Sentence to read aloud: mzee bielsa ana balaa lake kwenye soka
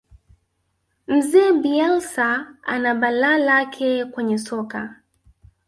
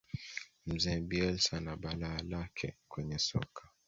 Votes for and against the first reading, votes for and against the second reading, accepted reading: 0, 2, 2, 0, second